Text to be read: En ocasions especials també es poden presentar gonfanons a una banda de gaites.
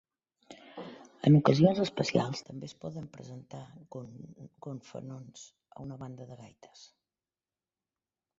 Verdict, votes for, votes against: rejected, 2, 4